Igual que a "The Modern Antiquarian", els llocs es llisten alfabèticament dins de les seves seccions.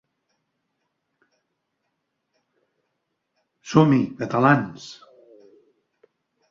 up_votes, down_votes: 0, 3